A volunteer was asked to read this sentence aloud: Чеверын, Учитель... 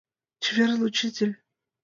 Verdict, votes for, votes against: rejected, 0, 2